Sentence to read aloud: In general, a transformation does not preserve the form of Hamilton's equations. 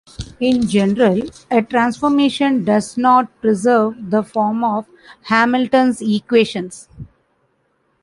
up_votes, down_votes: 2, 0